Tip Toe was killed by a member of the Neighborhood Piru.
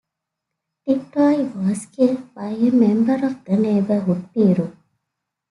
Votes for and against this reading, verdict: 2, 0, accepted